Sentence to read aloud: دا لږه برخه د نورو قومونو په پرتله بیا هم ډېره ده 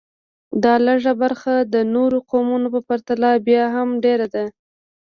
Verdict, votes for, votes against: accepted, 2, 0